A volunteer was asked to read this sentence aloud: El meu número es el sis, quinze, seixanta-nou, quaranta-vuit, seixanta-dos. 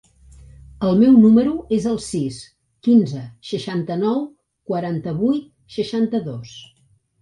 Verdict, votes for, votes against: accepted, 3, 0